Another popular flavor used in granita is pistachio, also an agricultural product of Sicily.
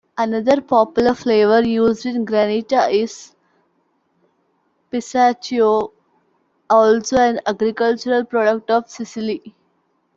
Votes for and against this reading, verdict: 3, 0, accepted